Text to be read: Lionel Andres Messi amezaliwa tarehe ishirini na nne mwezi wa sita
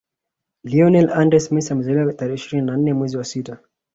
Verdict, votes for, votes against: accepted, 2, 0